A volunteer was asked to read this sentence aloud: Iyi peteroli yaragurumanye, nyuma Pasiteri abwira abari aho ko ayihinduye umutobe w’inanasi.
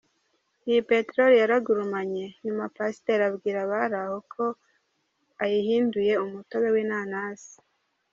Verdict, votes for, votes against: rejected, 1, 2